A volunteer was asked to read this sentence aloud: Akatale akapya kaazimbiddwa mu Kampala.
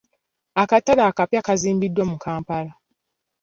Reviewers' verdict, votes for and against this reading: accepted, 3, 0